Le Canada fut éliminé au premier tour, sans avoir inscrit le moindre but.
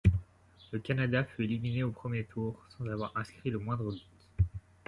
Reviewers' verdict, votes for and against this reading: accepted, 2, 0